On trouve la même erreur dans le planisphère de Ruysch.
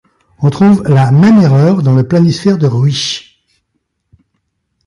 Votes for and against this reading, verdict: 2, 3, rejected